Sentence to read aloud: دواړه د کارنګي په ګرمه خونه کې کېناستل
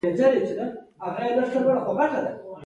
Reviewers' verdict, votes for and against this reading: accepted, 2, 1